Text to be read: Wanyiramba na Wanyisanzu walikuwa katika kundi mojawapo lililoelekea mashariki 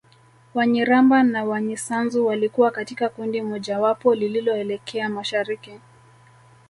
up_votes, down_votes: 1, 2